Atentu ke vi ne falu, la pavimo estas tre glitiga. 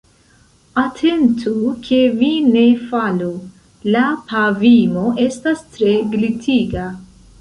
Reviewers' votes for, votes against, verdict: 1, 2, rejected